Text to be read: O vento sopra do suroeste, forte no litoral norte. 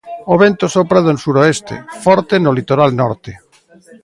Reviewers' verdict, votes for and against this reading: rejected, 1, 2